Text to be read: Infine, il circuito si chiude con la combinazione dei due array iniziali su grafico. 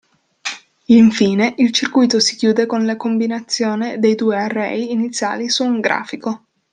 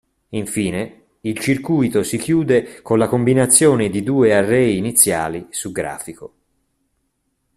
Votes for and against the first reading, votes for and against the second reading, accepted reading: 0, 2, 2, 1, second